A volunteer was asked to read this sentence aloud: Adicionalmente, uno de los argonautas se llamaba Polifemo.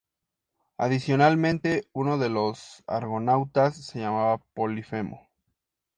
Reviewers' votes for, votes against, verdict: 2, 0, accepted